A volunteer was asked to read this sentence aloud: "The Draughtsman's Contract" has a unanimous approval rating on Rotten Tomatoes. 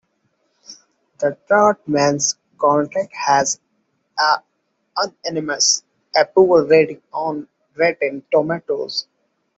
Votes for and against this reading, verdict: 0, 2, rejected